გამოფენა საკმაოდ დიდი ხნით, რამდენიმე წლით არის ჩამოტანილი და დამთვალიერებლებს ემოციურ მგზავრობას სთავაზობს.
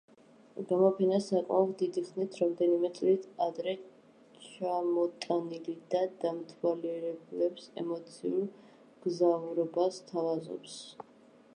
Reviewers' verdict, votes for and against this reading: rejected, 0, 2